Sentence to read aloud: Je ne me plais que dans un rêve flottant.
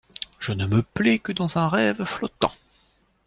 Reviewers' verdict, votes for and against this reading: accepted, 2, 0